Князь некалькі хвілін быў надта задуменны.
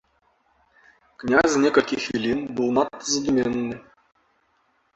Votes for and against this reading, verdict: 0, 2, rejected